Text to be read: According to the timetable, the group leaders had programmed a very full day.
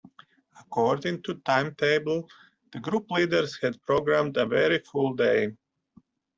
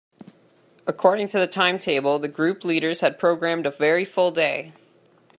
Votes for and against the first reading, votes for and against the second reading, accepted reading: 0, 2, 2, 0, second